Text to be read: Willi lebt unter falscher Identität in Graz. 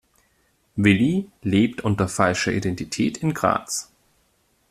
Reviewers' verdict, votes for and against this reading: accepted, 2, 0